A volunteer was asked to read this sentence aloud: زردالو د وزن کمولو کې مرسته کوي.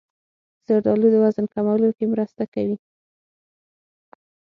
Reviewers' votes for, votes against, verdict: 6, 0, accepted